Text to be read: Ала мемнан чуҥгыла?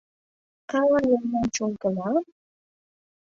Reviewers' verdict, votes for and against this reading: rejected, 0, 2